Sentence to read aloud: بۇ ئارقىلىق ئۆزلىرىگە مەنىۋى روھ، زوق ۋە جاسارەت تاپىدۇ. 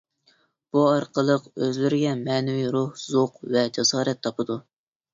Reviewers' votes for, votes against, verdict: 2, 0, accepted